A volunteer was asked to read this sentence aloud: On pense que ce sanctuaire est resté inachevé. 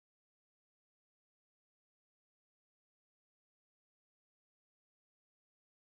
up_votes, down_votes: 0, 2